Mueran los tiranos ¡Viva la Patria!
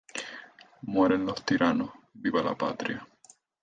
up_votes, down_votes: 4, 0